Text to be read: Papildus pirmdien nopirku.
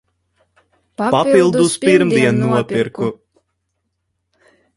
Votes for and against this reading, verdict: 0, 2, rejected